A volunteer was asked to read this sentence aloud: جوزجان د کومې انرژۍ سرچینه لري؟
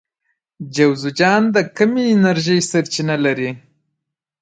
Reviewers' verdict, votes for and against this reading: accepted, 2, 1